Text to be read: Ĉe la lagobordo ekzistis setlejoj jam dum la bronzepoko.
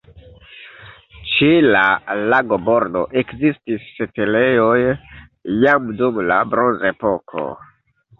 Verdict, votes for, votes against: rejected, 1, 2